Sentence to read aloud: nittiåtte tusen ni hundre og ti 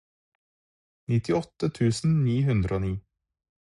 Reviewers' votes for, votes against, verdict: 0, 4, rejected